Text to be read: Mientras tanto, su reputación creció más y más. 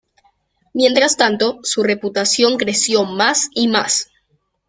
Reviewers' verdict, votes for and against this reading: accepted, 2, 0